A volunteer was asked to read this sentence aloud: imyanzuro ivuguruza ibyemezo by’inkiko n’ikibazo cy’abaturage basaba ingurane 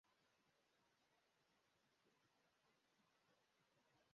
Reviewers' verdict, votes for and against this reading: rejected, 0, 2